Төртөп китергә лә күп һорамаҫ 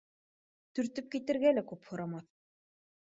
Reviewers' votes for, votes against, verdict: 2, 0, accepted